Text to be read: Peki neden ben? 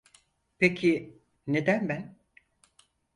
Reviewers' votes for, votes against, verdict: 4, 0, accepted